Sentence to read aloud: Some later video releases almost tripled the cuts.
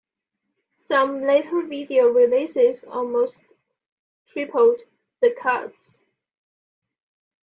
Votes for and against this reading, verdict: 0, 2, rejected